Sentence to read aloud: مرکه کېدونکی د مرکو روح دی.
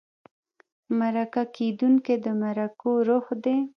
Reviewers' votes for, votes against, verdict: 1, 2, rejected